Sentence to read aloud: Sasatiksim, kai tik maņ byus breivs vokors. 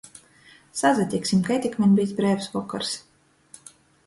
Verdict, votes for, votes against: accepted, 2, 0